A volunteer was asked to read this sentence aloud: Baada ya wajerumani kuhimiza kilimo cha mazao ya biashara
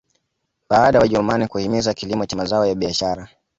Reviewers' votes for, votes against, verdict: 2, 0, accepted